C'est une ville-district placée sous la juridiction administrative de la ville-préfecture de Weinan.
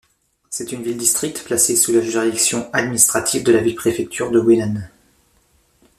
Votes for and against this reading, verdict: 2, 0, accepted